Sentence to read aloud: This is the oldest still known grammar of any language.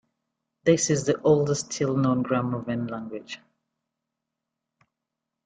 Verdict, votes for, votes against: rejected, 1, 2